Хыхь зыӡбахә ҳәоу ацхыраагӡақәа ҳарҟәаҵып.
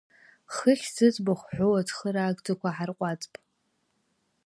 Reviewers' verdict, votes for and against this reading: rejected, 0, 2